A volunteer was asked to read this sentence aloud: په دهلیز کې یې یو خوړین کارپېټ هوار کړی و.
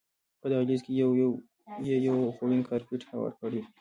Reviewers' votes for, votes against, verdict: 0, 2, rejected